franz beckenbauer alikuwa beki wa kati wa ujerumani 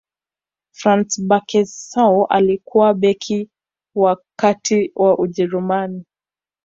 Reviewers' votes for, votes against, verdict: 2, 1, accepted